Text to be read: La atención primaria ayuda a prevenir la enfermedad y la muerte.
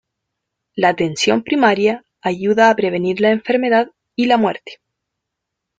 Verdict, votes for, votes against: accepted, 2, 1